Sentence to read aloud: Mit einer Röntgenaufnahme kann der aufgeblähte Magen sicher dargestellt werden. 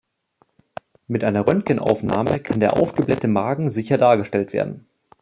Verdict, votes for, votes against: accepted, 2, 0